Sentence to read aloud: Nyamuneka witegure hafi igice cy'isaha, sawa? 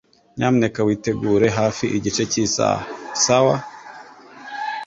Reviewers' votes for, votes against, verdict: 3, 0, accepted